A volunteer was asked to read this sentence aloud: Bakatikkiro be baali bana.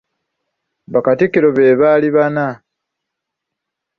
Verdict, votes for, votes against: rejected, 1, 3